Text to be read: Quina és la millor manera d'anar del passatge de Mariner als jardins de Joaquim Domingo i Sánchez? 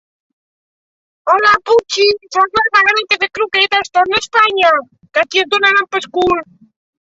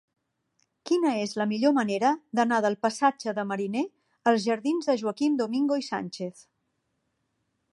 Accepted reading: second